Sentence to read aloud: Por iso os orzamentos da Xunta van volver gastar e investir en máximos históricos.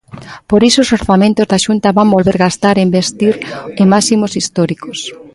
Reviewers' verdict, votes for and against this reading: accepted, 2, 0